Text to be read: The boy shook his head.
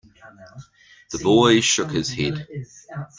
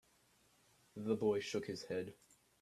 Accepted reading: second